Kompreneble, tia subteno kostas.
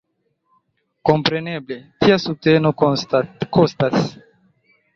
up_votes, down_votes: 1, 3